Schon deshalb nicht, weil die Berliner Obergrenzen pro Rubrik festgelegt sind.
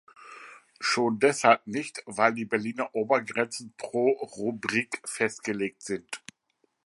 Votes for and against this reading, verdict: 2, 0, accepted